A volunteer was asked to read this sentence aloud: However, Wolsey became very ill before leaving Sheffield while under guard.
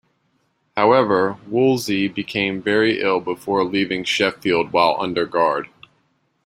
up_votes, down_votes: 2, 0